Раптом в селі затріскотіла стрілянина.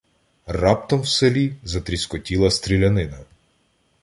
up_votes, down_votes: 2, 0